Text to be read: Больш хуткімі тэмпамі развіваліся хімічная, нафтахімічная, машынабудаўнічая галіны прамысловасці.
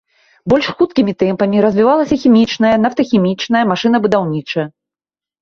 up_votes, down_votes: 0, 3